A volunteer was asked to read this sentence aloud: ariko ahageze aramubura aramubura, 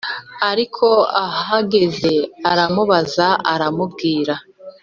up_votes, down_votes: 1, 2